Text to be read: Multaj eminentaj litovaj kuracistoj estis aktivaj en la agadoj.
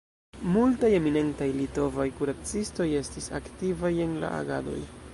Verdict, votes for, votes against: rejected, 0, 2